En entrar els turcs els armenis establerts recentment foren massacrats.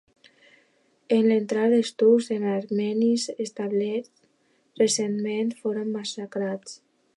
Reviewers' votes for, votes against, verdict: 2, 0, accepted